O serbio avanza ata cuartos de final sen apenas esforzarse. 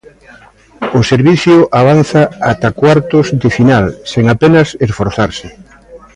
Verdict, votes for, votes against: rejected, 0, 2